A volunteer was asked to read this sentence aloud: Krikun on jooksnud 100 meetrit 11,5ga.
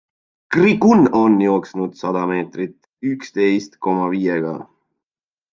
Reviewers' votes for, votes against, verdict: 0, 2, rejected